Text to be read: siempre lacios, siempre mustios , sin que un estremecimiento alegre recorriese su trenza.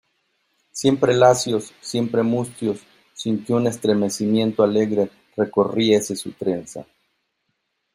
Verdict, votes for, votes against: accepted, 2, 0